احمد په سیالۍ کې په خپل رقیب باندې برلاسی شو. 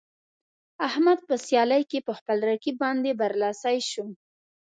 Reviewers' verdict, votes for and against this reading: accepted, 2, 0